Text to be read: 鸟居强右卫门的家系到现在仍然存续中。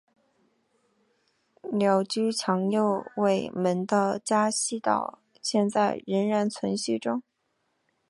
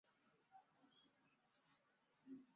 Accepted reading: first